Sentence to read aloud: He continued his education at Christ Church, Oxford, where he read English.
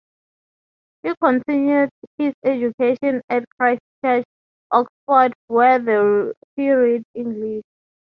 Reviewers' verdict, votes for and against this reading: rejected, 0, 3